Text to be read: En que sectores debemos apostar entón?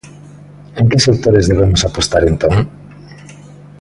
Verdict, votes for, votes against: accepted, 2, 0